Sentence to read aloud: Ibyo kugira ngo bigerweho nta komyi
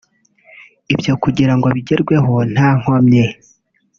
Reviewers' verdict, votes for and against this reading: accepted, 2, 0